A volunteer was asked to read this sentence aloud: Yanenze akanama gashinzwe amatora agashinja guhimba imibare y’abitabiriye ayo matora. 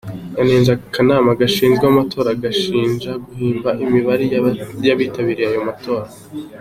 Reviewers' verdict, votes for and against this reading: accepted, 3, 0